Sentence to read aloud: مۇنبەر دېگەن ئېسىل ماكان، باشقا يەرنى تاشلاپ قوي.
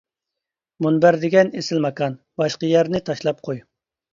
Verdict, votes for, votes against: accepted, 3, 0